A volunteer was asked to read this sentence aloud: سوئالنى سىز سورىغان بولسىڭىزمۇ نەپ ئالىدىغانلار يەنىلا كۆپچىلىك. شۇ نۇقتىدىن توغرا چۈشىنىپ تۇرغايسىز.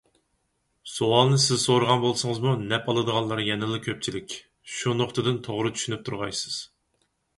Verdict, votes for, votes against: accepted, 4, 0